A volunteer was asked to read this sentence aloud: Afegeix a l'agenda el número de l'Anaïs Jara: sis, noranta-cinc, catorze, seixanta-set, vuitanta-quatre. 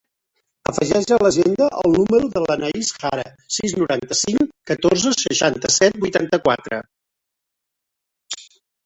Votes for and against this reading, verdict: 0, 3, rejected